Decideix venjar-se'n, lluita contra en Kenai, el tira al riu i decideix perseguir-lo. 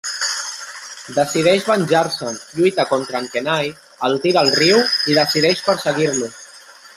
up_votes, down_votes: 1, 2